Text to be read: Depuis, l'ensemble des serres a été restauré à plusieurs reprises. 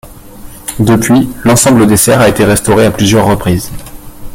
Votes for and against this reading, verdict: 2, 0, accepted